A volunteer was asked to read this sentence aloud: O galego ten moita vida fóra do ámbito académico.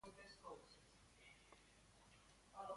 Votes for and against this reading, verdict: 0, 2, rejected